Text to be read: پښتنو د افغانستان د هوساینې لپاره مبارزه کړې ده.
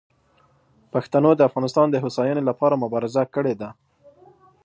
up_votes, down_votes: 2, 1